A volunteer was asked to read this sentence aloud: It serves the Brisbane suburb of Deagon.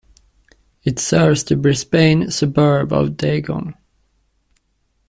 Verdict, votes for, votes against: rejected, 0, 2